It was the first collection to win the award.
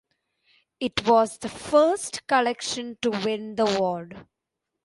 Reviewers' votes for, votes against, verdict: 1, 2, rejected